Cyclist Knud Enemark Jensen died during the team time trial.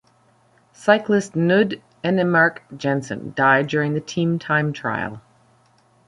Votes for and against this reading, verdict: 1, 2, rejected